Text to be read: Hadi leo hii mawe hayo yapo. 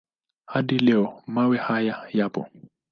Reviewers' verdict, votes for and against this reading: rejected, 3, 5